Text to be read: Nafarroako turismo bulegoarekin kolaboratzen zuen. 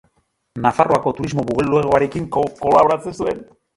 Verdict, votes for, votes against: rejected, 2, 5